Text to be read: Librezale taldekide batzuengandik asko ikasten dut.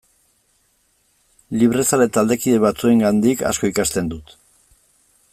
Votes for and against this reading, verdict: 2, 0, accepted